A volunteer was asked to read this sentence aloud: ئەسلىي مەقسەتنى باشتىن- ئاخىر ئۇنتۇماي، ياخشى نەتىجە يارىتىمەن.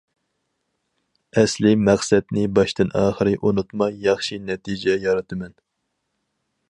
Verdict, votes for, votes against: rejected, 2, 2